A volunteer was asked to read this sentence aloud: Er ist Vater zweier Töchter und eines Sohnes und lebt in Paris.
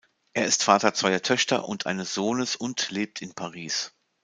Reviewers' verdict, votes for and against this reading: accepted, 2, 0